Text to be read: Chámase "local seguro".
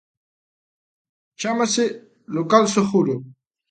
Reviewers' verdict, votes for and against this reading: accepted, 3, 0